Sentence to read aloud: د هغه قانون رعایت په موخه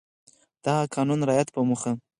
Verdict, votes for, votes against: accepted, 4, 2